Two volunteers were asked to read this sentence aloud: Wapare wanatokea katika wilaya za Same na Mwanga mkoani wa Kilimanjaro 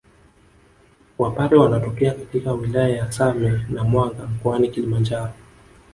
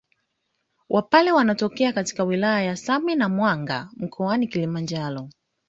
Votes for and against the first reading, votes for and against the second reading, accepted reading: 1, 2, 2, 0, second